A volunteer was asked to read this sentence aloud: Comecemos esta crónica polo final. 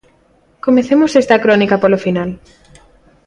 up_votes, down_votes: 2, 0